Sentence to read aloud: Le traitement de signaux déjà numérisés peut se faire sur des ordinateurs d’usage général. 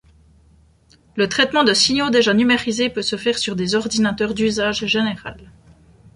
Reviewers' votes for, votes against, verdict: 2, 0, accepted